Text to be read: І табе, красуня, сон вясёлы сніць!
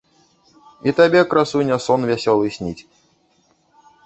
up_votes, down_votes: 1, 2